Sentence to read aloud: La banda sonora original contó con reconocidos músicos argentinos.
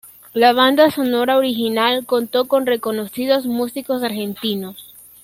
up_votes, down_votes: 2, 0